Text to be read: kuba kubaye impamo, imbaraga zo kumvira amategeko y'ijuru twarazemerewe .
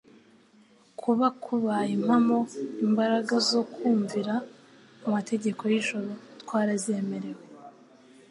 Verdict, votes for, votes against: accepted, 2, 0